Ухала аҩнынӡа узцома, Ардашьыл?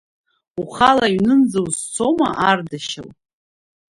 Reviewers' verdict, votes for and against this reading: accepted, 2, 0